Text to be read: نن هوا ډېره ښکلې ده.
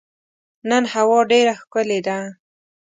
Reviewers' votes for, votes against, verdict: 2, 0, accepted